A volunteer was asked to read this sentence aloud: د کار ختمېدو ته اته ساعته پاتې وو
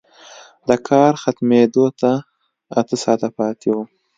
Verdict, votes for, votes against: accepted, 2, 0